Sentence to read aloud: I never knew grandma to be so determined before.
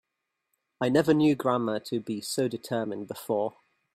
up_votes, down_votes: 3, 1